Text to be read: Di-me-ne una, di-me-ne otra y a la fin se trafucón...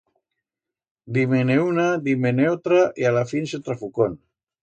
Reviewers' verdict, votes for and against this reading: accepted, 2, 0